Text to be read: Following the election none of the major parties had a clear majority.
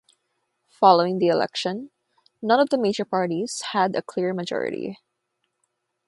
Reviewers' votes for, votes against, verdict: 6, 0, accepted